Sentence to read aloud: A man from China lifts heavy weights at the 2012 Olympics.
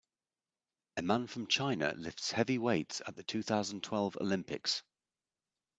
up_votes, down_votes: 0, 2